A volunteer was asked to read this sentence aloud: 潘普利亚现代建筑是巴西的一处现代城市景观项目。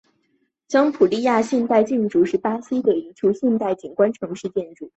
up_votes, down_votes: 5, 1